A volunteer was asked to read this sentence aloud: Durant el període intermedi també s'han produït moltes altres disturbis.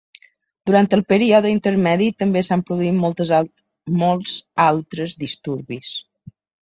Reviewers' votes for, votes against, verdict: 0, 2, rejected